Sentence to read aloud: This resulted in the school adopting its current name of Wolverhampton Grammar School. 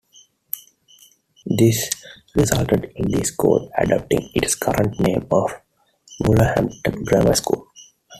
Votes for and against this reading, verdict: 0, 2, rejected